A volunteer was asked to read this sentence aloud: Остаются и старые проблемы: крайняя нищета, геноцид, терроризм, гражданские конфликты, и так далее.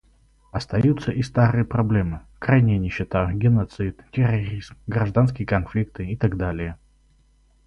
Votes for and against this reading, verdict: 4, 0, accepted